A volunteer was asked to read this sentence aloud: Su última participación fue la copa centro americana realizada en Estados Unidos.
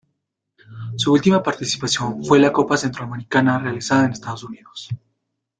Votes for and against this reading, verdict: 2, 0, accepted